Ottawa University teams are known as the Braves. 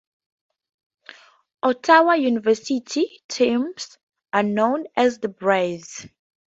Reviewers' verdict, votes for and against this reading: rejected, 4, 4